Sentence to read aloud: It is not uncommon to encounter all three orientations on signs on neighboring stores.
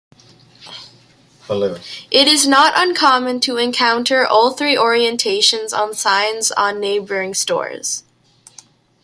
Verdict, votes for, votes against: accepted, 2, 1